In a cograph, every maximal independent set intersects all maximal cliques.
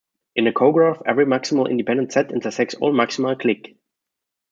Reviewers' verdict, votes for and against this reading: rejected, 1, 2